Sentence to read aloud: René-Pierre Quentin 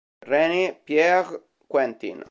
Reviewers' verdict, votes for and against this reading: rejected, 0, 2